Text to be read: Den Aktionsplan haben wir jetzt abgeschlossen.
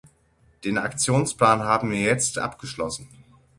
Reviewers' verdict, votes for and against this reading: accepted, 6, 0